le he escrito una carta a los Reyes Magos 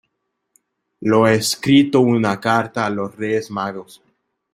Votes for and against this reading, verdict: 0, 2, rejected